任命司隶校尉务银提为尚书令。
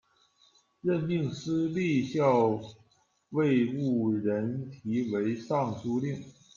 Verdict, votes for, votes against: rejected, 0, 2